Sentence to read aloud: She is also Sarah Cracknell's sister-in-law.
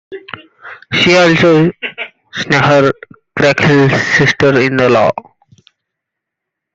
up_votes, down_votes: 0, 2